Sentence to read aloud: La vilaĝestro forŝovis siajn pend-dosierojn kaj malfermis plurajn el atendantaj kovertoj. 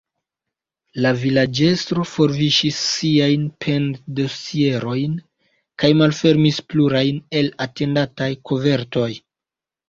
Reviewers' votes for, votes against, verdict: 1, 2, rejected